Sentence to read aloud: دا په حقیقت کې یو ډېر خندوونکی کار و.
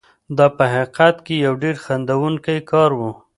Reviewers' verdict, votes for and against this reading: accepted, 2, 0